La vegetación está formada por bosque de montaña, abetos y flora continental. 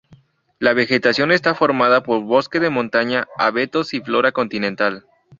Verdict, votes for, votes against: rejected, 2, 2